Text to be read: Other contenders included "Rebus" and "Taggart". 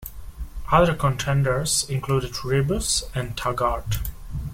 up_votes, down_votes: 2, 0